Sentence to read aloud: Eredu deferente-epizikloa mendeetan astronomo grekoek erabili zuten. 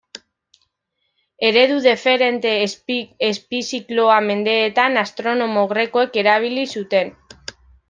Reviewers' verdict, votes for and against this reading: rejected, 0, 2